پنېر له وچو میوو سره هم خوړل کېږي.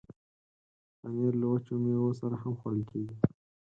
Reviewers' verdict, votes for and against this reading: rejected, 2, 4